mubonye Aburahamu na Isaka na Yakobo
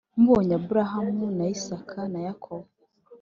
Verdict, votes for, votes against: accepted, 2, 0